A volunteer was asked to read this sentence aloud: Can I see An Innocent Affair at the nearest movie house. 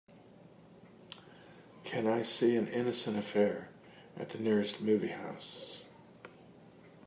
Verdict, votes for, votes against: accepted, 2, 0